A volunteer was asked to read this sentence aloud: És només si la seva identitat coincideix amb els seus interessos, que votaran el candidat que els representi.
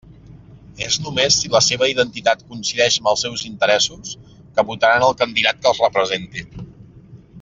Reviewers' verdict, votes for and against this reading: accepted, 2, 1